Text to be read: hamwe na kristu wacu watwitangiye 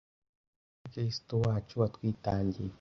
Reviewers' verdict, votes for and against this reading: rejected, 1, 2